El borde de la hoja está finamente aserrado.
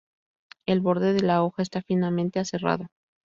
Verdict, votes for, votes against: rejected, 0, 2